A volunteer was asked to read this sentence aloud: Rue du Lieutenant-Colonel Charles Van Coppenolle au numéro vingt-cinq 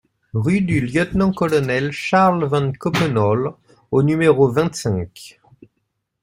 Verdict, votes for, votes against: accepted, 2, 0